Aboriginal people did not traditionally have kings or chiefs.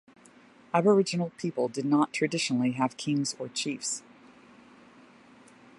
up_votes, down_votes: 2, 0